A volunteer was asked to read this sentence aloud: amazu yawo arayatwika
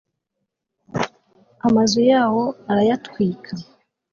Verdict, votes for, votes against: accepted, 2, 0